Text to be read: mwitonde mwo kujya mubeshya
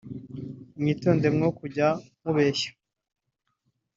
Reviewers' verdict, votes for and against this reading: accepted, 2, 1